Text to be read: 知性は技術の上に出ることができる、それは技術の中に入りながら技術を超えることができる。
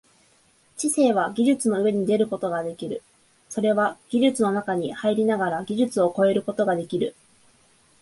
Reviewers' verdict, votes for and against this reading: accepted, 2, 0